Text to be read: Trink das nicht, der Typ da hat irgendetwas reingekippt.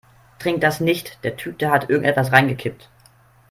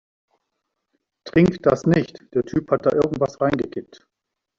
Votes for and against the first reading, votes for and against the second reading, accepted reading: 3, 0, 0, 2, first